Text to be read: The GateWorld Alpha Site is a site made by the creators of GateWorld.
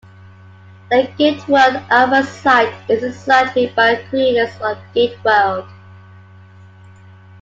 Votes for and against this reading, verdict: 2, 1, accepted